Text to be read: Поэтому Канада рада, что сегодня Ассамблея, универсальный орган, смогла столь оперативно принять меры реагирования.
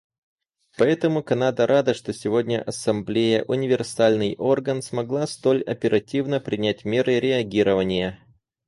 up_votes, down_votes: 4, 0